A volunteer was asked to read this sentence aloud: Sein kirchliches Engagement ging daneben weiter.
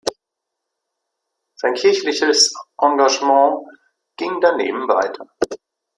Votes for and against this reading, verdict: 2, 1, accepted